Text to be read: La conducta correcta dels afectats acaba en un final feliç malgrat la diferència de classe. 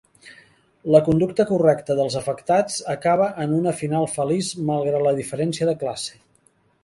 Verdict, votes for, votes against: rejected, 1, 5